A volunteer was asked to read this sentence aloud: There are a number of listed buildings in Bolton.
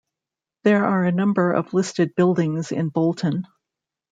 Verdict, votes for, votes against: accepted, 2, 0